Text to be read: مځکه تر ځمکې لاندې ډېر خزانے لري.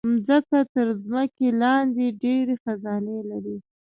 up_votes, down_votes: 0, 2